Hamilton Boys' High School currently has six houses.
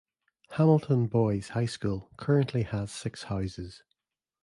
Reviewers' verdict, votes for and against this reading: accepted, 2, 0